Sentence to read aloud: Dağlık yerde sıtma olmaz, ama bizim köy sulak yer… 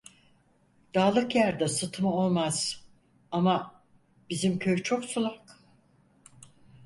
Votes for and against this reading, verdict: 0, 4, rejected